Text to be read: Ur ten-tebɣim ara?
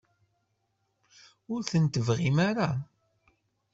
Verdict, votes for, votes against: accepted, 2, 0